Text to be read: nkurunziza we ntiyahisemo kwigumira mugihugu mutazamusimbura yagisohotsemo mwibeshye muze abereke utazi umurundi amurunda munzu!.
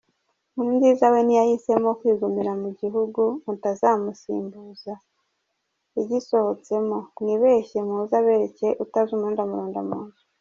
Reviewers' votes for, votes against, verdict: 0, 2, rejected